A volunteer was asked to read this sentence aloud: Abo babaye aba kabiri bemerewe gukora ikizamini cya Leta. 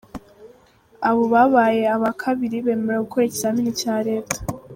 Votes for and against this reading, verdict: 2, 0, accepted